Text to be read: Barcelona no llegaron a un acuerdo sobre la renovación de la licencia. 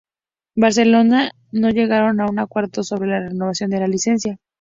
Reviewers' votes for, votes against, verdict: 0, 2, rejected